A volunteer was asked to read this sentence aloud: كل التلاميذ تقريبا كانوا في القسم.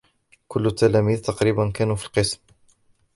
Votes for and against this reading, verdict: 2, 0, accepted